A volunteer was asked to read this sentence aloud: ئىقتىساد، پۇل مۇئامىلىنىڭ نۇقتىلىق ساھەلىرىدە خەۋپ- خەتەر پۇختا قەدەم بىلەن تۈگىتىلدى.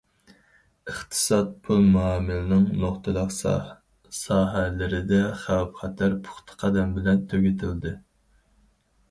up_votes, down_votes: 0, 4